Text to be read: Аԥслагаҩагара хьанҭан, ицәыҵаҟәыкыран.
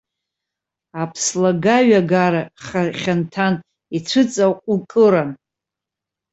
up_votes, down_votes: 0, 2